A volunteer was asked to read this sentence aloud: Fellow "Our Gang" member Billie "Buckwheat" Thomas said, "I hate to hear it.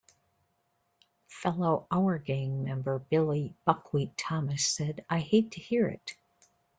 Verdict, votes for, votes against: rejected, 1, 2